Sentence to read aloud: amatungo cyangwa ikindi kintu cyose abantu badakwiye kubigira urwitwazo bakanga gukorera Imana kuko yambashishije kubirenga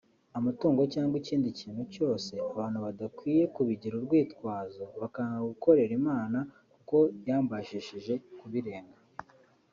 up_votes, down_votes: 1, 2